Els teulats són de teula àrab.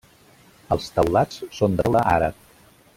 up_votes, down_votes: 0, 2